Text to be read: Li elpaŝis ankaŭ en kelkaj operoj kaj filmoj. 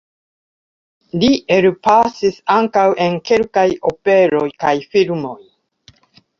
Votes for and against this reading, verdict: 1, 2, rejected